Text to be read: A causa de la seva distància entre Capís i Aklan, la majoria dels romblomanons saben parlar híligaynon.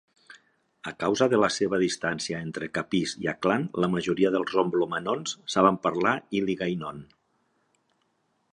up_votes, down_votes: 2, 0